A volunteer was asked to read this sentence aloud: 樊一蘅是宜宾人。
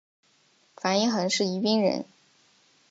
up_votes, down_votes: 1, 2